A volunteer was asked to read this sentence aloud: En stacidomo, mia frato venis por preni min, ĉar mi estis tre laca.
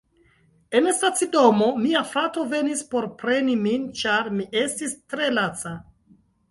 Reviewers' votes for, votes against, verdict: 1, 2, rejected